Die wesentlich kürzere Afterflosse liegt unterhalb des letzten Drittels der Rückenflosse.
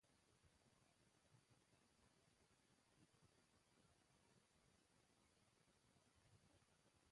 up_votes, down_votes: 0, 2